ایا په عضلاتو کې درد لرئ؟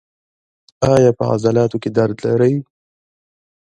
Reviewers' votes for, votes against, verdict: 0, 2, rejected